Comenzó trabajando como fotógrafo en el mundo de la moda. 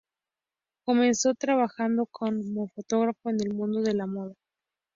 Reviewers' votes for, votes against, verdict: 0, 2, rejected